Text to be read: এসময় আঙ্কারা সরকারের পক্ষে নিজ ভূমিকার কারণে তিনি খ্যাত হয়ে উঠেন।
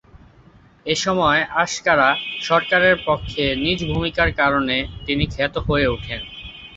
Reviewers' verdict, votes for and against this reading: rejected, 0, 3